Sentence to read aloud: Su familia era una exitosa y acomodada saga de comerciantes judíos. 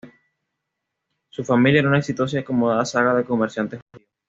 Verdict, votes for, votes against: rejected, 1, 2